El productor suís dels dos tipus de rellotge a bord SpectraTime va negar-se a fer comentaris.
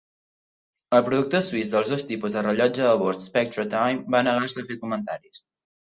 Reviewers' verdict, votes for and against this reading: accepted, 2, 0